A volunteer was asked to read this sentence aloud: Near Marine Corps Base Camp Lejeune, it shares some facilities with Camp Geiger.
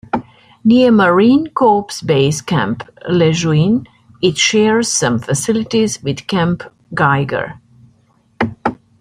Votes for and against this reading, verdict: 2, 0, accepted